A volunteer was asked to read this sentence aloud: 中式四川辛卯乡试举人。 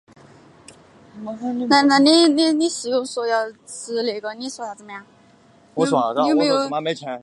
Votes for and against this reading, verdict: 0, 3, rejected